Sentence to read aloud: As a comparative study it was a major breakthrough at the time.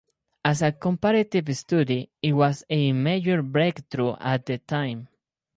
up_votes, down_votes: 2, 0